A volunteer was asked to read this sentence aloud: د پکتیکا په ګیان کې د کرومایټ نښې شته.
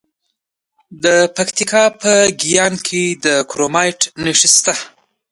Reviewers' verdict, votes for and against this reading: accepted, 2, 0